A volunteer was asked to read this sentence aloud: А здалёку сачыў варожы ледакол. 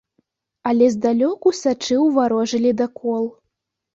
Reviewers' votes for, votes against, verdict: 0, 3, rejected